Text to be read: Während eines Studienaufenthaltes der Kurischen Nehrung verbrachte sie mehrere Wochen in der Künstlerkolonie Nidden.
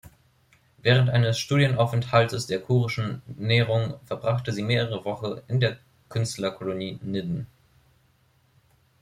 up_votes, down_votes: 1, 2